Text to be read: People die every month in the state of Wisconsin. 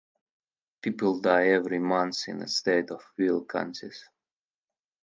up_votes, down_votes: 2, 4